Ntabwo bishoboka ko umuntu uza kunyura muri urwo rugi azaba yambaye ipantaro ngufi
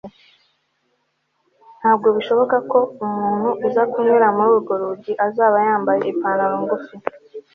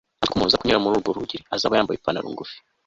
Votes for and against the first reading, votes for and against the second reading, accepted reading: 2, 0, 2, 3, first